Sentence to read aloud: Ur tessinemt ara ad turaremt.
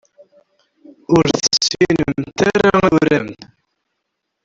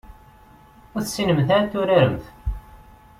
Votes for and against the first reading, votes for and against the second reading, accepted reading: 0, 2, 2, 0, second